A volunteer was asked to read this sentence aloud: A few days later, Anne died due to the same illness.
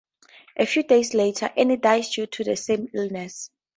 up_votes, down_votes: 2, 0